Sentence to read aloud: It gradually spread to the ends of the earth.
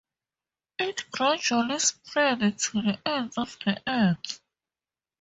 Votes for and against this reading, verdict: 0, 4, rejected